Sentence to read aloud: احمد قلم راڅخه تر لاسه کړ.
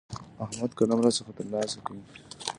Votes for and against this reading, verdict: 0, 2, rejected